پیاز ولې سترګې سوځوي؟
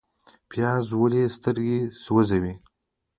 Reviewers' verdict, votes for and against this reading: accepted, 2, 0